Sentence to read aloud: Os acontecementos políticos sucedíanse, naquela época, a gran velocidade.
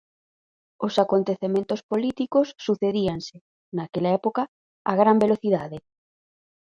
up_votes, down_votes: 4, 0